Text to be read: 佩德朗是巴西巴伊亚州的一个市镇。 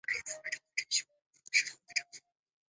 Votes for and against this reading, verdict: 0, 3, rejected